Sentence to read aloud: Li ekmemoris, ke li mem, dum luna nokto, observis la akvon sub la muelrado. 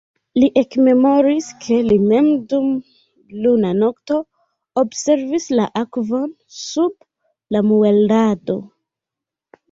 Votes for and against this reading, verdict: 1, 2, rejected